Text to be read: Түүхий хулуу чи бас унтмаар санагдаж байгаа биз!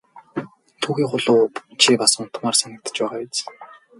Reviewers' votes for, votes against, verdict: 0, 2, rejected